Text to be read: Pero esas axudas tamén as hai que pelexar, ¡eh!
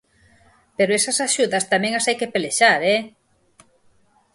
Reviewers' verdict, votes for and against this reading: accepted, 6, 0